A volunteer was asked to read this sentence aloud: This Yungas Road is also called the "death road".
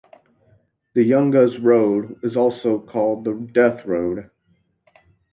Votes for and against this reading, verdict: 0, 2, rejected